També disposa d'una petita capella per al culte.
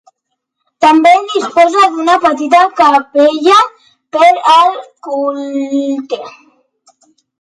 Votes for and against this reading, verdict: 0, 2, rejected